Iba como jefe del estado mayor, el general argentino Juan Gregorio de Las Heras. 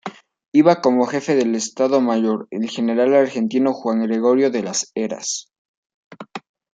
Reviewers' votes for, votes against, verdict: 2, 0, accepted